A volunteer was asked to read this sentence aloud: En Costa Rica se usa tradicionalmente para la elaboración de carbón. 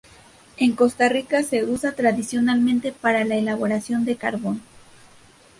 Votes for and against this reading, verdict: 2, 0, accepted